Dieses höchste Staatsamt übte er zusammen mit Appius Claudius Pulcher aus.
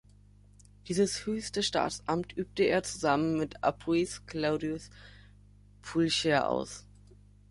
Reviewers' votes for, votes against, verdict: 0, 2, rejected